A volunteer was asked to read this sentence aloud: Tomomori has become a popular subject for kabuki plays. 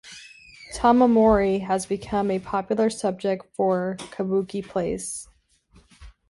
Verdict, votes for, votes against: accepted, 2, 0